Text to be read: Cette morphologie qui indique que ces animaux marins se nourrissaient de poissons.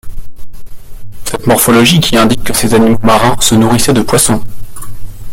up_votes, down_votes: 0, 2